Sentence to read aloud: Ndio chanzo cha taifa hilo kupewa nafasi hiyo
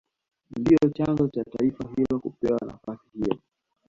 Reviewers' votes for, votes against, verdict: 2, 0, accepted